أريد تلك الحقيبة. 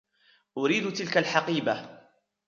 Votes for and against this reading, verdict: 2, 1, accepted